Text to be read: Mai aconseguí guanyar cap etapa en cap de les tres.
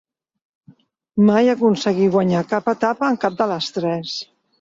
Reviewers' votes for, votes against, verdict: 2, 0, accepted